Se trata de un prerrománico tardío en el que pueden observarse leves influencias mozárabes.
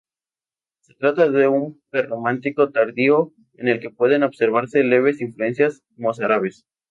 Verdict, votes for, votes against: accepted, 2, 0